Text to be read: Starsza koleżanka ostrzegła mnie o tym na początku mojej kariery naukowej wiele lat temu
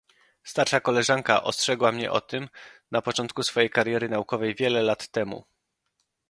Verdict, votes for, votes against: rejected, 0, 2